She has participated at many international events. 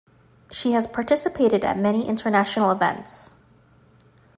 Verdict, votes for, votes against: accepted, 2, 0